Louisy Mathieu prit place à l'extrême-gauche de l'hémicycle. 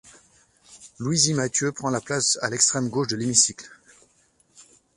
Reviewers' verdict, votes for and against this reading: rejected, 0, 2